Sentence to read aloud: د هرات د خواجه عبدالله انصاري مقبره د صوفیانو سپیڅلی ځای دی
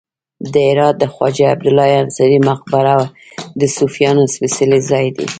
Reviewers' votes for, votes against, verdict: 1, 2, rejected